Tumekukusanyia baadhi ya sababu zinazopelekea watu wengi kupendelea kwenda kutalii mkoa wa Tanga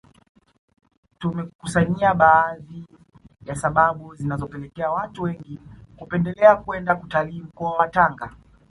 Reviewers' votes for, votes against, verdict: 0, 2, rejected